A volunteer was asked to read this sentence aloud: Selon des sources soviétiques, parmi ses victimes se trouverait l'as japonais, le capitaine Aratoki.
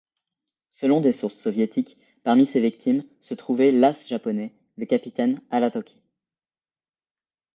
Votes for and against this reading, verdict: 0, 2, rejected